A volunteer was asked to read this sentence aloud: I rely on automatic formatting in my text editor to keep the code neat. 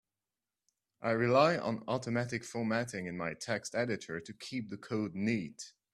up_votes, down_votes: 3, 0